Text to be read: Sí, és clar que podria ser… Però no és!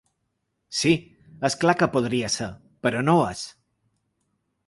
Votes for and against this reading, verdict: 2, 0, accepted